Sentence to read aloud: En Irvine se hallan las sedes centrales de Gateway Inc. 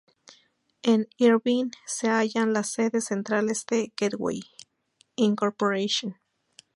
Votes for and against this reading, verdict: 0, 2, rejected